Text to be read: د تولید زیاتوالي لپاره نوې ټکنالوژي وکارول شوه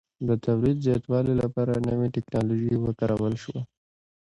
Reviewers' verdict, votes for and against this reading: accepted, 2, 0